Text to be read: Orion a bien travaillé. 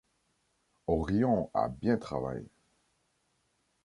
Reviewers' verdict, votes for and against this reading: rejected, 1, 2